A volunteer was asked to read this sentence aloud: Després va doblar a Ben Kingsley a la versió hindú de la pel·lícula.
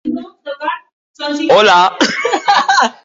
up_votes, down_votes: 1, 3